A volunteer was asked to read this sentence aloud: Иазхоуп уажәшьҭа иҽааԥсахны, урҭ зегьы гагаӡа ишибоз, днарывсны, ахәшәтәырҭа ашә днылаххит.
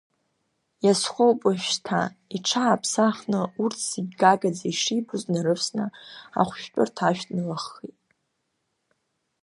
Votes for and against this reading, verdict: 2, 0, accepted